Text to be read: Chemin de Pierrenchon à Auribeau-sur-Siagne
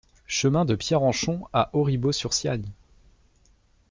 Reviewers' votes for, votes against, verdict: 2, 0, accepted